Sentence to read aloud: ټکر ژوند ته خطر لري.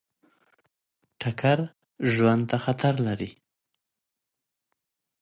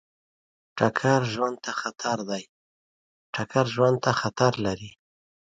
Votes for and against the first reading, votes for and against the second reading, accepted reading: 2, 0, 0, 3, first